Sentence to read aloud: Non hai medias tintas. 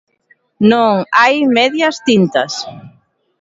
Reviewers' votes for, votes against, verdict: 1, 2, rejected